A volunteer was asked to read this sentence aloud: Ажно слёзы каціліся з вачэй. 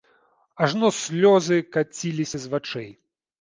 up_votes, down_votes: 2, 0